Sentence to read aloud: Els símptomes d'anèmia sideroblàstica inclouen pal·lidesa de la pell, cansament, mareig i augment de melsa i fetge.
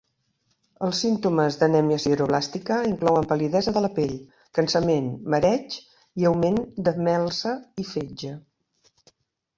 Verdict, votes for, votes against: accepted, 2, 0